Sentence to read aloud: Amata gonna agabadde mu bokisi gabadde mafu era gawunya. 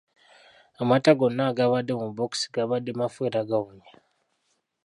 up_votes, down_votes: 0, 2